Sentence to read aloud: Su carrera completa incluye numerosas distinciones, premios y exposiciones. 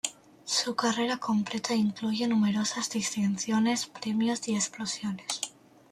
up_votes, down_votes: 1, 2